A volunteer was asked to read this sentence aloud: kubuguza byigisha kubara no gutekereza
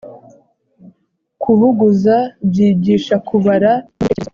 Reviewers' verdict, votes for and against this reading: rejected, 1, 2